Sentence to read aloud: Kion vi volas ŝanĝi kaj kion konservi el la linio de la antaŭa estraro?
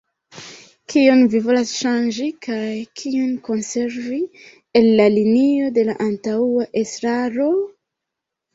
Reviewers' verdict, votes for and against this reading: rejected, 0, 2